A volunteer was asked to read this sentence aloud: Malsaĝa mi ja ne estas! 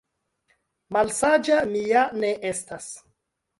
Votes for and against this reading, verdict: 2, 0, accepted